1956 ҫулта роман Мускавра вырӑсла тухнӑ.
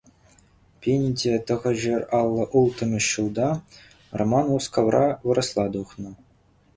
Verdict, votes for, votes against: rejected, 0, 2